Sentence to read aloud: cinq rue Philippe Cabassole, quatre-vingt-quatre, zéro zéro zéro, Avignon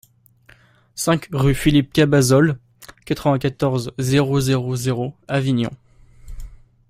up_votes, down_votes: 0, 2